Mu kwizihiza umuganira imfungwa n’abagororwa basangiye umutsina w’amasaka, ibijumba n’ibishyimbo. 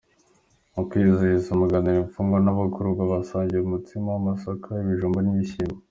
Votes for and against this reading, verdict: 2, 1, accepted